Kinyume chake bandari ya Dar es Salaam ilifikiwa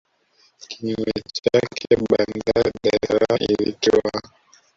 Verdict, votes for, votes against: rejected, 0, 2